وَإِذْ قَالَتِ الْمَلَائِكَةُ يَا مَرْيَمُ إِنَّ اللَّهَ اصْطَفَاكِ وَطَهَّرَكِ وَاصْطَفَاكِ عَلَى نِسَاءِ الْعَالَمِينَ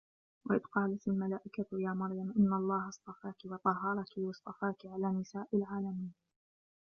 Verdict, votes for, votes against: rejected, 1, 2